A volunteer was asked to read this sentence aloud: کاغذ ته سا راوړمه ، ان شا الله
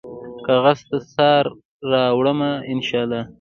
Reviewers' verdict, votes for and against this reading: accepted, 2, 1